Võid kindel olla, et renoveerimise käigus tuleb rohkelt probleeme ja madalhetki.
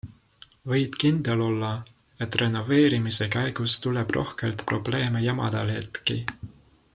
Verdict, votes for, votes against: accepted, 3, 0